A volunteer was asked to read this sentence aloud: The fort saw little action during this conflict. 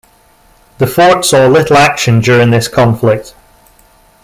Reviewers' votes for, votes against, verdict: 2, 0, accepted